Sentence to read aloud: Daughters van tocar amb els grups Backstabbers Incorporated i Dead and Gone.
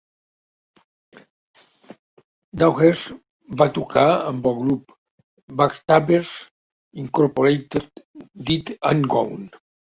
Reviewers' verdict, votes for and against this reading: rejected, 0, 2